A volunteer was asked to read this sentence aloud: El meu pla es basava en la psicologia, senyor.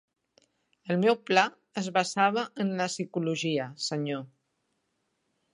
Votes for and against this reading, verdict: 3, 0, accepted